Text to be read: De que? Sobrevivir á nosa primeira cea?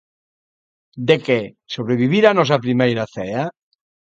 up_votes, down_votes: 1, 2